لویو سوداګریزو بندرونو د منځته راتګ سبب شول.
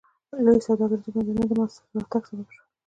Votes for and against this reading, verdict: 2, 0, accepted